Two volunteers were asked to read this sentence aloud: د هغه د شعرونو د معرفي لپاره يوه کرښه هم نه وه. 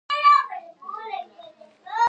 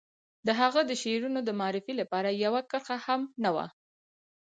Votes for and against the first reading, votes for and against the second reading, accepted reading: 1, 2, 4, 0, second